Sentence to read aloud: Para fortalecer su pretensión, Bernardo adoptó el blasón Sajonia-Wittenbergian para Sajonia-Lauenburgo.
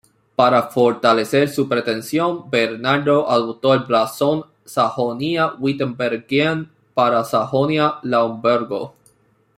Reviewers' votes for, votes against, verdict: 0, 2, rejected